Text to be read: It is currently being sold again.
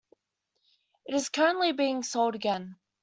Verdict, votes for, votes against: accepted, 2, 0